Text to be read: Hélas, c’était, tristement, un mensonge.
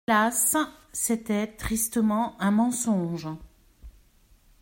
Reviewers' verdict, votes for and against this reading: rejected, 0, 2